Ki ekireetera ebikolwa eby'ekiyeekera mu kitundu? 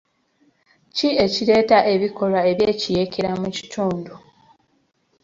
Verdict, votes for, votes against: rejected, 2, 3